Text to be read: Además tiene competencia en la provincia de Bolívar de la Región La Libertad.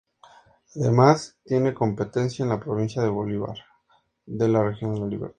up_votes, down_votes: 0, 2